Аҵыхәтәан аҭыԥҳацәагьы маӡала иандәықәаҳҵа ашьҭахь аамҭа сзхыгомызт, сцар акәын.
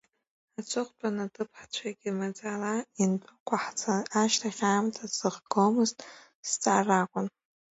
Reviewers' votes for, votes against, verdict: 0, 2, rejected